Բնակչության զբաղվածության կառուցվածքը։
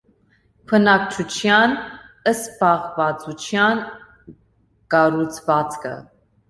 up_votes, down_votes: 2, 0